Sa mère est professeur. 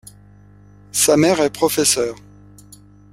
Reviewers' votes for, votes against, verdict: 2, 0, accepted